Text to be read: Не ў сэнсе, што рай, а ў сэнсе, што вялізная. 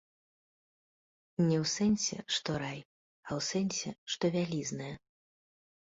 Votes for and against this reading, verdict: 2, 0, accepted